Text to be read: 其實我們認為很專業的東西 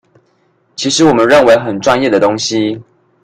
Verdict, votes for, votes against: accepted, 2, 0